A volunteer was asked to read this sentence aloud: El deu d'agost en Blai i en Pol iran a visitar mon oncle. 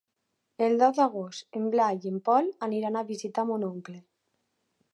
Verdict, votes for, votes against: rejected, 2, 3